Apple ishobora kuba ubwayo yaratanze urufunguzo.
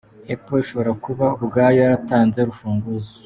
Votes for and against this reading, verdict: 2, 1, accepted